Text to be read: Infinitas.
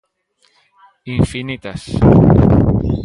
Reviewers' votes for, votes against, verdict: 2, 0, accepted